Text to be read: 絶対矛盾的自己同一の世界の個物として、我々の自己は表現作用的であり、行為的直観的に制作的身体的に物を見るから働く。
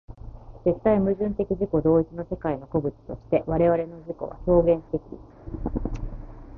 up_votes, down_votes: 0, 2